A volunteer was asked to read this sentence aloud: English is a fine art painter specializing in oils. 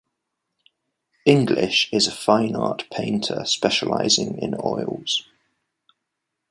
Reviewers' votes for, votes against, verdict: 2, 0, accepted